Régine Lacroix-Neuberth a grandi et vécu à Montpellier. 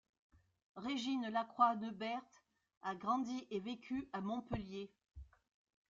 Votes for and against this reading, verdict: 2, 0, accepted